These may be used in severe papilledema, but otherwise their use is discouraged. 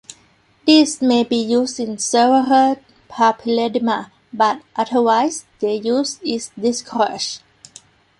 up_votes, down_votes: 1, 2